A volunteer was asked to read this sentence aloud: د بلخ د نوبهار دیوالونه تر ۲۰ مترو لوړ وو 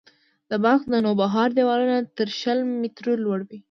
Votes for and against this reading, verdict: 0, 2, rejected